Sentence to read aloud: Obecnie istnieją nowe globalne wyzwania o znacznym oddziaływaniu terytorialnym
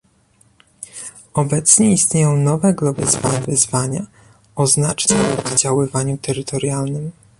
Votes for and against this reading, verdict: 0, 2, rejected